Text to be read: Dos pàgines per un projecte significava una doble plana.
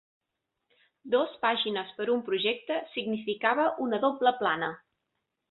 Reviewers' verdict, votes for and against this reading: accepted, 3, 0